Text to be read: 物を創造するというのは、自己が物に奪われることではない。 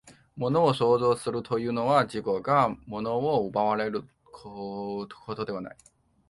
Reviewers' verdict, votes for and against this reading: rejected, 0, 3